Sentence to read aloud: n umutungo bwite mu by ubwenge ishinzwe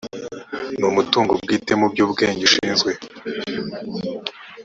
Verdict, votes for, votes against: rejected, 1, 2